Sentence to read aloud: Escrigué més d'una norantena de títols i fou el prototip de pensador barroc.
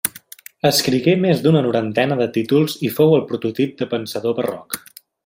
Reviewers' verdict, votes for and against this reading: accepted, 3, 0